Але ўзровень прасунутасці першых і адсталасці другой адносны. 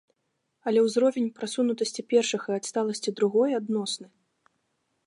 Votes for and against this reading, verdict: 2, 0, accepted